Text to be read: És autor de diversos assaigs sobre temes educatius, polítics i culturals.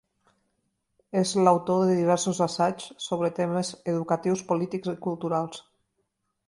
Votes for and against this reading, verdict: 1, 2, rejected